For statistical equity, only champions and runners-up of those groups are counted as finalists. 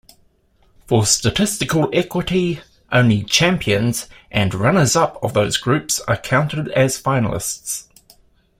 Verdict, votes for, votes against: accepted, 2, 0